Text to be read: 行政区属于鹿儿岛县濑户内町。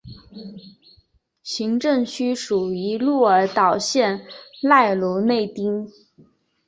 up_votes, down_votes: 2, 1